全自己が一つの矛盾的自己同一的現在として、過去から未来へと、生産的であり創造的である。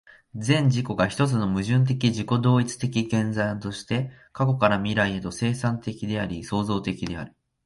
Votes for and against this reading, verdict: 3, 0, accepted